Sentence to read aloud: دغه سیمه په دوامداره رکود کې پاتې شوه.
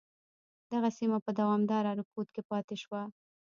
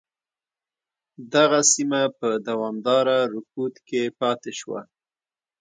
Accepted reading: second